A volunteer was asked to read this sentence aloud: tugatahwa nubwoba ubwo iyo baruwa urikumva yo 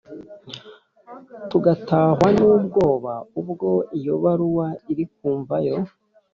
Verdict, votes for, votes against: accepted, 4, 0